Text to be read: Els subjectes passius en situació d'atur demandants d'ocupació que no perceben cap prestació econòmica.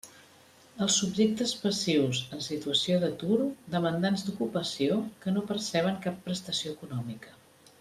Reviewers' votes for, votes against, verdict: 3, 0, accepted